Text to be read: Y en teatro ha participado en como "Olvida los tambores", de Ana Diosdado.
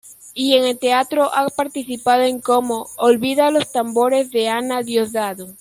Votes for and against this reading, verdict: 0, 2, rejected